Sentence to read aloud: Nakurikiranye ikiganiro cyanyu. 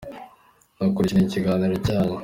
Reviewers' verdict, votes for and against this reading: accepted, 2, 0